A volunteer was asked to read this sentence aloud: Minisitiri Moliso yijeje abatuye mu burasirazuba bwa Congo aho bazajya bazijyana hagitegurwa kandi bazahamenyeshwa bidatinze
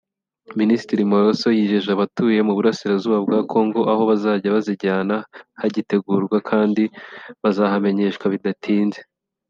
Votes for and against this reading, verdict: 2, 0, accepted